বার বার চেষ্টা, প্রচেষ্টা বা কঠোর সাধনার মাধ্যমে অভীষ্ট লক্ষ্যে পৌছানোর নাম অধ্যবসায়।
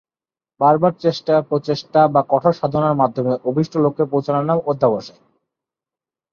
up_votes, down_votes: 16, 4